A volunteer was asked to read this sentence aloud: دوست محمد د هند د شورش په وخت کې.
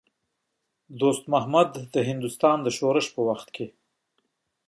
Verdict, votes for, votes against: rejected, 1, 2